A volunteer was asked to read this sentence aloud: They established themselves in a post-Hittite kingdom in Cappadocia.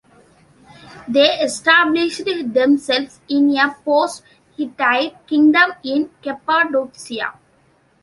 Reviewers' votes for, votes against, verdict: 2, 1, accepted